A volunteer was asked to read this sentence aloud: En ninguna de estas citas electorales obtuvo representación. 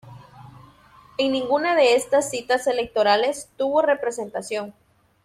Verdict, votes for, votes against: rejected, 1, 2